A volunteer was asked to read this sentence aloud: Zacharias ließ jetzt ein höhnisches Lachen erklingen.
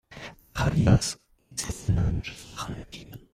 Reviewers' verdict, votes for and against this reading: rejected, 0, 2